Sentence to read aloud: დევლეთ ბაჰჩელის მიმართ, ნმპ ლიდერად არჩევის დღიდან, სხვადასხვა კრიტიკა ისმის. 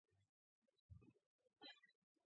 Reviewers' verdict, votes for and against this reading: accepted, 2, 1